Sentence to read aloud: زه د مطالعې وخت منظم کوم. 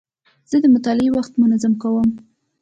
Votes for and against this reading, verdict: 2, 0, accepted